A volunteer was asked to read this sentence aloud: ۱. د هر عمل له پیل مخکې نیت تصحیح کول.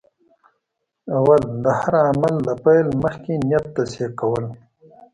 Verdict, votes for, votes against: rejected, 0, 2